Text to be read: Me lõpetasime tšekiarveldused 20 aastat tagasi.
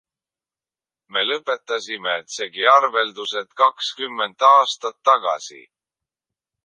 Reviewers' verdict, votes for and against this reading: rejected, 0, 2